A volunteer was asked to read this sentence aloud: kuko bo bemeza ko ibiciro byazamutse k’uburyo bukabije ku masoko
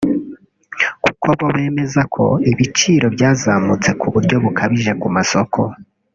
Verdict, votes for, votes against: accepted, 2, 0